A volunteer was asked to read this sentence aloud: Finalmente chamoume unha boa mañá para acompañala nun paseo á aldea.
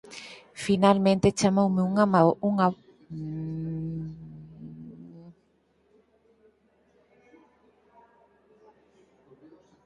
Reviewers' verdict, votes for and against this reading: rejected, 0, 4